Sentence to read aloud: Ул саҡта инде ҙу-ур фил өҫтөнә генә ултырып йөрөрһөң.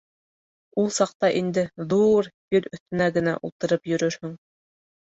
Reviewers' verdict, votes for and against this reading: accepted, 2, 0